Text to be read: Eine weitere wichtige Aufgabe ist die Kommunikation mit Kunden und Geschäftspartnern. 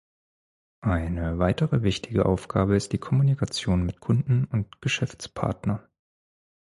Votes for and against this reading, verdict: 2, 4, rejected